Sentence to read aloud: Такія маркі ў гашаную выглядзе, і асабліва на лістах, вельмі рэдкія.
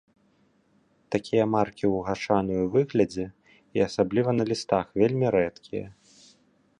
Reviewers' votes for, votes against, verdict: 2, 1, accepted